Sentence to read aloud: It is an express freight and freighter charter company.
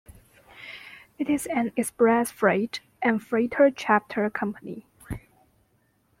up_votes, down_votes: 0, 2